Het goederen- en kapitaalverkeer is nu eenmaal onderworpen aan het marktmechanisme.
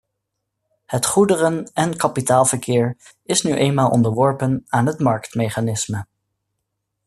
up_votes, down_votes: 2, 0